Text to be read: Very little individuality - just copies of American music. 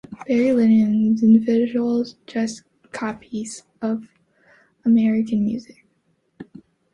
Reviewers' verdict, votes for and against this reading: rejected, 1, 2